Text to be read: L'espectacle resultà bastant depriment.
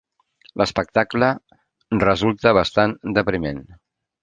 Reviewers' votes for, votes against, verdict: 0, 2, rejected